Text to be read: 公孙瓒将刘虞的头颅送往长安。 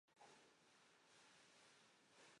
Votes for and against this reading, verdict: 4, 3, accepted